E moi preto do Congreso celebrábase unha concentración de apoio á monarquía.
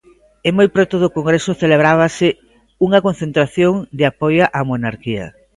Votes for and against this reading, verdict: 2, 0, accepted